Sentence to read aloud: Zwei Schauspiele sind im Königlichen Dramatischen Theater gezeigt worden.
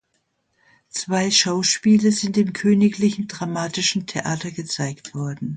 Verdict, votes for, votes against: accepted, 2, 0